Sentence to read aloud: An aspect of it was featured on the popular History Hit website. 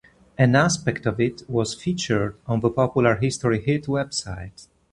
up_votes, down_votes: 2, 0